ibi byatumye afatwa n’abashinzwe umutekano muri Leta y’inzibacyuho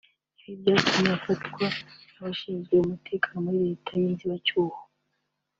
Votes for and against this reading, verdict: 2, 0, accepted